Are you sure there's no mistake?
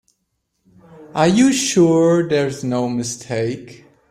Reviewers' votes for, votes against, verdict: 2, 0, accepted